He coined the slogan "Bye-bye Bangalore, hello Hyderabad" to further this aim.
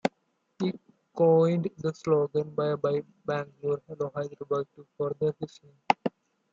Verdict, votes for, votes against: accepted, 2, 1